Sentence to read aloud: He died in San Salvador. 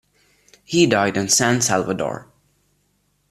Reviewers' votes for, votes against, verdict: 2, 0, accepted